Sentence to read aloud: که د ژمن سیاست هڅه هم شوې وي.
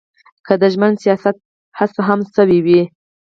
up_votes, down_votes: 4, 0